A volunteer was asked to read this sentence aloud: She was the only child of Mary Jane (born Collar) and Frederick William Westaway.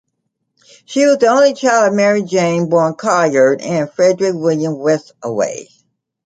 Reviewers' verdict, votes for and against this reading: rejected, 1, 2